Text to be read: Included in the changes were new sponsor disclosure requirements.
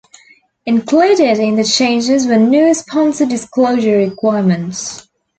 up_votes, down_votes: 2, 0